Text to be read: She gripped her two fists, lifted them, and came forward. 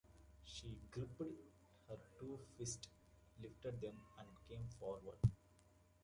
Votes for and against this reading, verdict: 0, 2, rejected